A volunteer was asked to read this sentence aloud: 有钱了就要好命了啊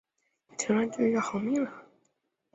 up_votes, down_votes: 0, 4